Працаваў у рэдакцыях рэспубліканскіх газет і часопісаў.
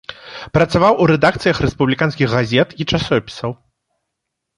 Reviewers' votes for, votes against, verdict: 2, 0, accepted